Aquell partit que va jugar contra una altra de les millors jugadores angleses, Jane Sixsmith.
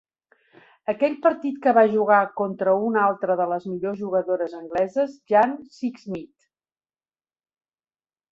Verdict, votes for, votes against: accepted, 2, 0